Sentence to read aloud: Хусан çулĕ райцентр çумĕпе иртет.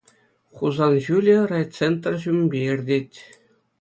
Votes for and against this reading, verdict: 2, 0, accepted